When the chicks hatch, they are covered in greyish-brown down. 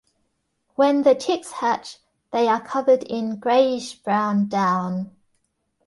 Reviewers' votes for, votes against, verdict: 2, 0, accepted